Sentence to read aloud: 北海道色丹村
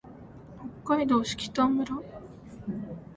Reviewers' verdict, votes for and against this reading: rejected, 0, 2